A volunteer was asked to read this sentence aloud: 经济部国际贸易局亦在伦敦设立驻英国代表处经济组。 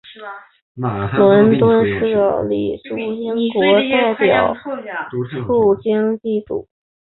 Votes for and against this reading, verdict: 3, 4, rejected